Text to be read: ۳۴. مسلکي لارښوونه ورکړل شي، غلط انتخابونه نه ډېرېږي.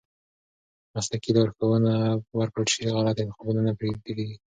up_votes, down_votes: 0, 2